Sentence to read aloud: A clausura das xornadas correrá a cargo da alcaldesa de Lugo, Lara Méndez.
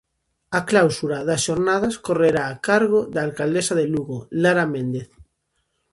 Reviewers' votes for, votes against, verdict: 0, 2, rejected